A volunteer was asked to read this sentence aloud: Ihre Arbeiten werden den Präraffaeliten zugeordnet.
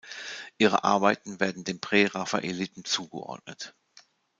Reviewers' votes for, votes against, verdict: 2, 0, accepted